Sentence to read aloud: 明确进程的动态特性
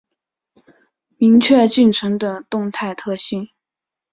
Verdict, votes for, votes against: accepted, 5, 0